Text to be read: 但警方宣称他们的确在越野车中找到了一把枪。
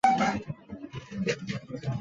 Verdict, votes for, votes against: rejected, 0, 4